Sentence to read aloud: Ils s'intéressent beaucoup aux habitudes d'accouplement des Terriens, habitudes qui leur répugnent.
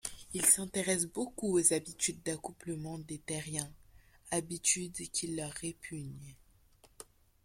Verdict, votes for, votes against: accepted, 2, 0